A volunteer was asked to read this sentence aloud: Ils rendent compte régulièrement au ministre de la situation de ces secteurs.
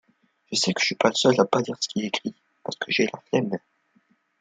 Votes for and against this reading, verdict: 0, 2, rejected